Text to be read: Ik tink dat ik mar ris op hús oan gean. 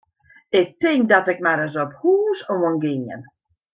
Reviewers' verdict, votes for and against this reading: rejected, 1, 2